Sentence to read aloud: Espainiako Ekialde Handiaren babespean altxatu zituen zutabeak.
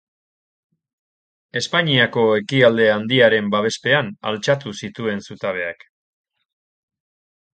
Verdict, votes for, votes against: accepted, 2, 0